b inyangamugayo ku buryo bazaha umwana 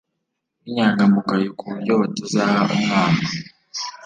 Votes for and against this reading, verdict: 0, 2, rejected